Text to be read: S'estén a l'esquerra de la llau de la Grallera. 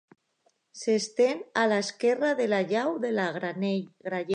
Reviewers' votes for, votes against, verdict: 1, 2, rejected